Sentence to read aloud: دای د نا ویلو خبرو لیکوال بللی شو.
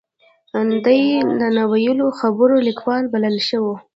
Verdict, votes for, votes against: accepted, 3, 0